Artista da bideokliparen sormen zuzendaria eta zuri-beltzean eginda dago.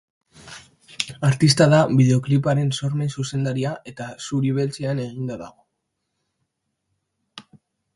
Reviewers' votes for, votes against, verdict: 2, 0, accepted